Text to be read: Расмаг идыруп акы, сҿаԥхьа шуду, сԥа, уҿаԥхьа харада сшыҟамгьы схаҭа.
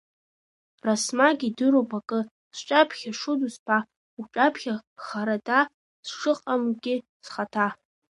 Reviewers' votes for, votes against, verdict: 0, 2, rejected